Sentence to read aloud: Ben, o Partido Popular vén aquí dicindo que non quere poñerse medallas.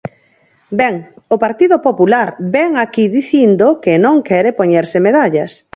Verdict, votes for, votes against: accepted, 4, 2